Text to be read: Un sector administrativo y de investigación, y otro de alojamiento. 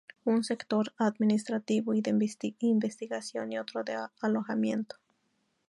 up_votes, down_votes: 4, 4